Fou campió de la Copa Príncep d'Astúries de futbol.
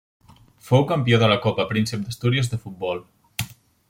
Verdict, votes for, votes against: accepted, 2, 0